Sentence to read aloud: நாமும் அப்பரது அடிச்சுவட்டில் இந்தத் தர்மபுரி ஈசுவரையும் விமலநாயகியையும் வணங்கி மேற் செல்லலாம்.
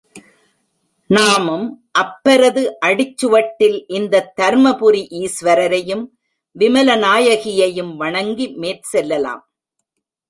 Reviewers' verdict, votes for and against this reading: rejected, 0, 2